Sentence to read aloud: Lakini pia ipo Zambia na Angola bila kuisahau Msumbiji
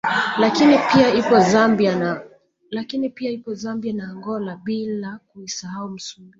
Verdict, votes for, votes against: rejected, 1, 2